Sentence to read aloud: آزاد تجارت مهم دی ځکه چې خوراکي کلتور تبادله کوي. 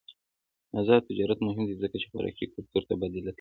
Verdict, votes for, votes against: rejected, 0, 2